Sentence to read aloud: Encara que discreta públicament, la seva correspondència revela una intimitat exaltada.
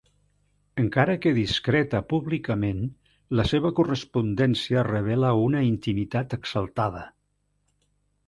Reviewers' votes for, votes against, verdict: 3, 0, accepted